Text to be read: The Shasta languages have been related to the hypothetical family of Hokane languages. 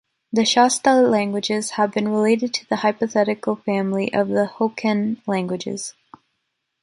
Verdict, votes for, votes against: rejected, 1, 3